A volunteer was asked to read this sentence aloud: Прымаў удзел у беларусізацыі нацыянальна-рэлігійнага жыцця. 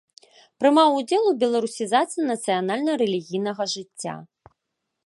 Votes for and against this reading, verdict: 2, 0, accepted